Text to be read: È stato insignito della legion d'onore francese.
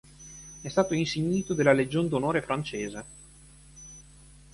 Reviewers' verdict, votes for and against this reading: accepted, 2, 0